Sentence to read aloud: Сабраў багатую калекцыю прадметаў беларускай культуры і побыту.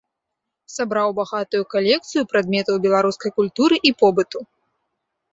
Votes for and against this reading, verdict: 2, 0, accepted